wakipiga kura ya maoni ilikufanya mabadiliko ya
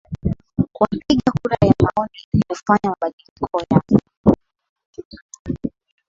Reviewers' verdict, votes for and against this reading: accepted, 11, 4